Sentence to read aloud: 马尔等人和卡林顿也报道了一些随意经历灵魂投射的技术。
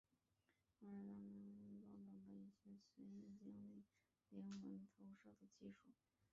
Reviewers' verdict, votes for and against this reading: rejected, 1, 6